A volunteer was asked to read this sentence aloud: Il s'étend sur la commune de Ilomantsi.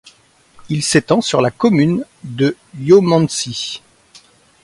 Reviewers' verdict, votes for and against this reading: accepted, 2, 1